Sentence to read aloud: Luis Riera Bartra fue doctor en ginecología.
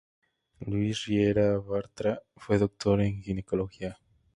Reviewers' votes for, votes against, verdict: 2, 0, accepted